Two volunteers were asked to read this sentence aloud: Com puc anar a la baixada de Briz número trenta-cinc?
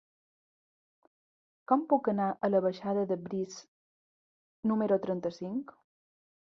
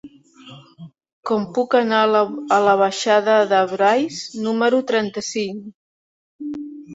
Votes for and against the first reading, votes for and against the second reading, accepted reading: 3, 1, 0, 2, first